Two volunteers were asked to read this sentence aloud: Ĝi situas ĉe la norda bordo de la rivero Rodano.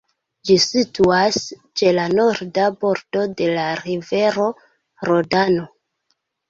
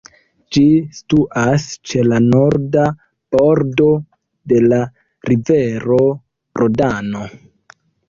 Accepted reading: second